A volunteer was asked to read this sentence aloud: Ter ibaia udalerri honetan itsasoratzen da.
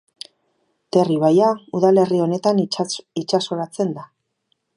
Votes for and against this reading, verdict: 2, 2, rejected